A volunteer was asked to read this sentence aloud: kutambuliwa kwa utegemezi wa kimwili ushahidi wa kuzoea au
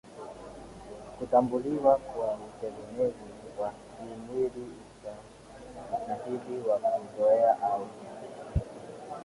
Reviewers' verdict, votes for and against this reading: rejected, 0, 2